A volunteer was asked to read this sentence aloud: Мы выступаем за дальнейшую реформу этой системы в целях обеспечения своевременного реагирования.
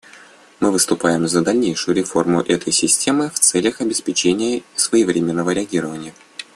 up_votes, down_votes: 2, 0